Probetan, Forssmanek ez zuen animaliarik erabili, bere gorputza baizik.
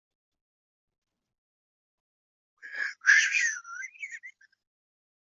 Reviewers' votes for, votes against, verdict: 1, 2, rejected